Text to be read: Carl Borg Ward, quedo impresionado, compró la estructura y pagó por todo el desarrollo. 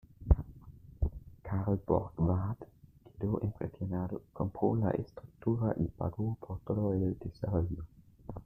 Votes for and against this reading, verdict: 1, 2, rejected